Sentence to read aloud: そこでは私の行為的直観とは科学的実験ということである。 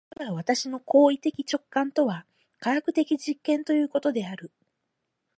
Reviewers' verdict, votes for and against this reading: rejected, 2, 4